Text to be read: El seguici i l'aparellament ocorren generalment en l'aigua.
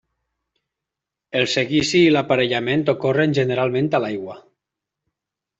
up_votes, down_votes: 1, 2